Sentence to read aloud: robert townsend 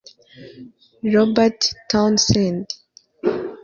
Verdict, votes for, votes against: rejected, 0, 2